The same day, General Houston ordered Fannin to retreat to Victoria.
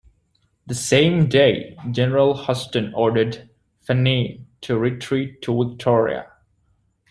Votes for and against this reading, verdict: 2, 1, accepted